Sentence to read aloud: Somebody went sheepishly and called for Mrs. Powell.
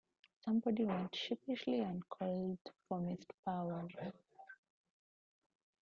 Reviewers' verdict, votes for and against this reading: rejected, 1, 2